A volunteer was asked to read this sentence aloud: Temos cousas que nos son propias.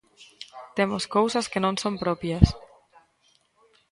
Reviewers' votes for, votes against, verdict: 0, 2, rejected